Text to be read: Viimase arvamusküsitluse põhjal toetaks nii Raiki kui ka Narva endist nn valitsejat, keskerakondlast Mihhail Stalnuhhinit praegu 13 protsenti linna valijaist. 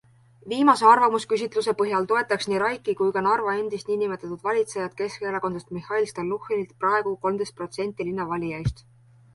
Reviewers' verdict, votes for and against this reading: rejected, 0, 2